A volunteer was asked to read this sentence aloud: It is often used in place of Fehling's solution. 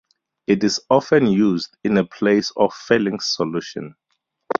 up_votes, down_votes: 2, 2